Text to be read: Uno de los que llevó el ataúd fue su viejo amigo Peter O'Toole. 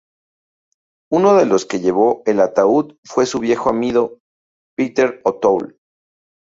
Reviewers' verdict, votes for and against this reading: rejected, 2, 2